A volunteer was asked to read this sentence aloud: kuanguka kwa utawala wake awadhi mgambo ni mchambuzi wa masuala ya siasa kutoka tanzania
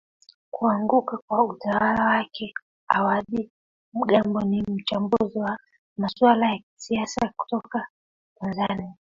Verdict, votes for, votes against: rejected, 0, 2